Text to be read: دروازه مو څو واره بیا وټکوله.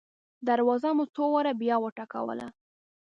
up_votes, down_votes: 2, 0